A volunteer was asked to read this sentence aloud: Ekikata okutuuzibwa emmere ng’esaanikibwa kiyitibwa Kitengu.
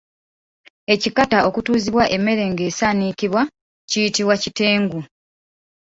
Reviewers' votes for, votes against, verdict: 1, 2, rejected